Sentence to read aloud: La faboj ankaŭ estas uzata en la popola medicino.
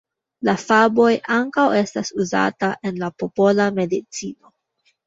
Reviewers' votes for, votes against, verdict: 1, 2, rejected